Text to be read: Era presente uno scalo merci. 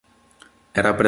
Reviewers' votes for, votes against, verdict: 0, 2, rejected